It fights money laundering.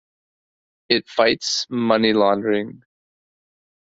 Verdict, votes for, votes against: accepted, 2, 0